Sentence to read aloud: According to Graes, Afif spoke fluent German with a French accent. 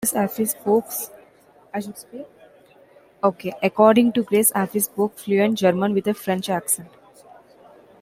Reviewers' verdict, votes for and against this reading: rejected, 0, 2